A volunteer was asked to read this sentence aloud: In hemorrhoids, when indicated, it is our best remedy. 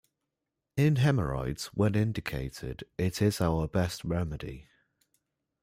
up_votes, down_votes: 2, 0